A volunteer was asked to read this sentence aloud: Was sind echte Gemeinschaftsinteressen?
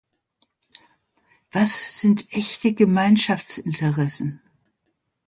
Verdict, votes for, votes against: accepted, 2, 0